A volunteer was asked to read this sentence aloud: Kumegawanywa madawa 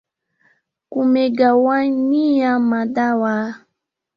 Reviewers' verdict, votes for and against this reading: rejected, 1, 2